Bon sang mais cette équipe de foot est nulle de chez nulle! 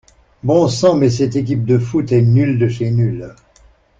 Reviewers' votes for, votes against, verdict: 2, 0, accepted